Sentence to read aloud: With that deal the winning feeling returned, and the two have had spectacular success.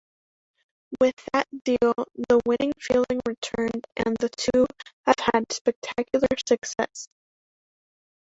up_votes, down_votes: 2, 0